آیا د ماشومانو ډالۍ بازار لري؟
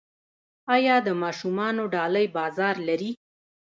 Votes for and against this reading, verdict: 2, 0, accepted